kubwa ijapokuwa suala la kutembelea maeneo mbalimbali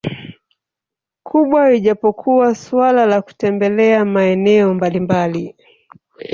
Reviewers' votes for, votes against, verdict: 1, 2, rejected